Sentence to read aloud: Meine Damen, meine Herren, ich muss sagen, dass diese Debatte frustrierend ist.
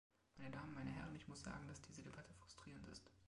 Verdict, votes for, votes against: accepted, 2, 1